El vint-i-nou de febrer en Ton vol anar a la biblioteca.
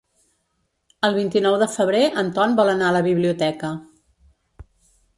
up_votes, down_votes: 3, 0